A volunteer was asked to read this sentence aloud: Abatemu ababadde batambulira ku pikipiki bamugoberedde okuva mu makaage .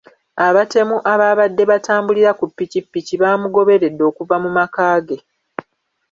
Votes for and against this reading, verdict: 2, 1, accepted